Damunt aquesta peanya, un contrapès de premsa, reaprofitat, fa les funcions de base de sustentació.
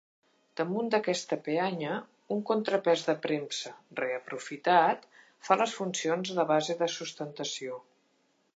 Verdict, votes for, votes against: rejected, 1, 2